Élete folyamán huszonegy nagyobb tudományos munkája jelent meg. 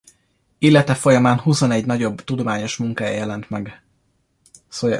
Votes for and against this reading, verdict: 2, 0, accepted